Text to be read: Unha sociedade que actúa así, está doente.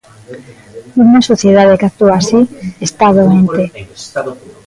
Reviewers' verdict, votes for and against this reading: rejected, 0, 2